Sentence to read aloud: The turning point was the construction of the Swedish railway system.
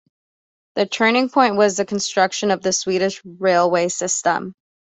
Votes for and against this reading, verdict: 2, 0, accepted